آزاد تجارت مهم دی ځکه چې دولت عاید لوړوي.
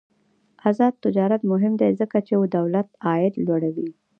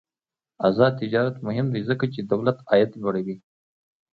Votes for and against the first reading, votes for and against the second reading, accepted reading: 1, 2, 2, 0, second